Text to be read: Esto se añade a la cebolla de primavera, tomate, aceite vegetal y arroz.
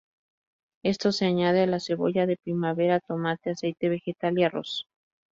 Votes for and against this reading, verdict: 2, 0, accepted